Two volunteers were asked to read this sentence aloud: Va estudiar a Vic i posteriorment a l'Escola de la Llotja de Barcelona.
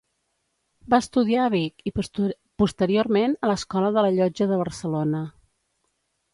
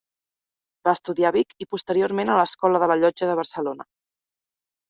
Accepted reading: second